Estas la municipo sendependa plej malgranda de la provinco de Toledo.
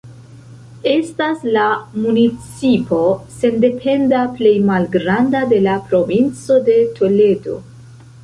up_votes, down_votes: 1, 2